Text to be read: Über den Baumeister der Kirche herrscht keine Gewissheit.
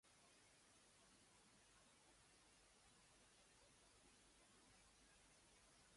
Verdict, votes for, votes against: rejected, 0, 2